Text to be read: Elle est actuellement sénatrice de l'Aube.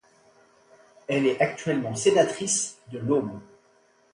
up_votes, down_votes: 2, 0